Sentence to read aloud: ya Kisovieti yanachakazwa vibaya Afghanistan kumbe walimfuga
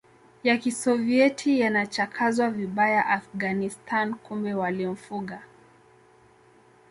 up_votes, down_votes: 2, 1